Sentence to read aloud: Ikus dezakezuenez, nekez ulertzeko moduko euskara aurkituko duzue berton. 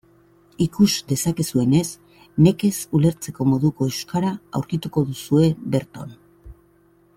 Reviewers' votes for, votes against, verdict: 2, 0, accepted